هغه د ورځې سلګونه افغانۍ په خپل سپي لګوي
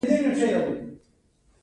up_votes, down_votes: 2, 0